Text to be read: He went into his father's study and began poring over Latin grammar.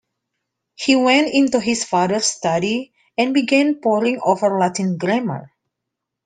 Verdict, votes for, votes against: accepted, 2, 0